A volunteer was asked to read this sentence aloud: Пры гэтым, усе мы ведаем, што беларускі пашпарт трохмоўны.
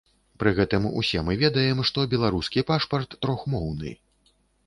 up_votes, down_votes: 2, 0